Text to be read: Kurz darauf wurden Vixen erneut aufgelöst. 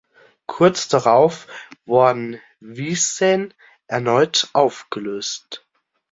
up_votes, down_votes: 0, 3